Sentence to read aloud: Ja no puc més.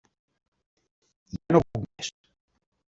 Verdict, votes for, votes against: rejected, 0, 2